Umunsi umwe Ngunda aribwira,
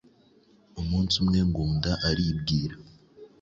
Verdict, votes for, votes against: accepted, 2, 0